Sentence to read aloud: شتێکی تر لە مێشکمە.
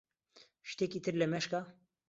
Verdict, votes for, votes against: rejected, 0, 2